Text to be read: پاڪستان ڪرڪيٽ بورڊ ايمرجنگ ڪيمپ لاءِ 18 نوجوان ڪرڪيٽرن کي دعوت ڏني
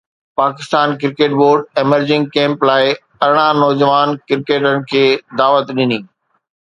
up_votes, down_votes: 0, 2